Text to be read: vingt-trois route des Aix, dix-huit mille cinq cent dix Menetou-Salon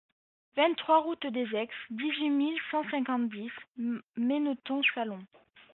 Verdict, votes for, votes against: rejected, 1, 2